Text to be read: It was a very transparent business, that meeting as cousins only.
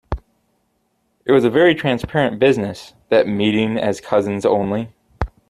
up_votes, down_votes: 2, 0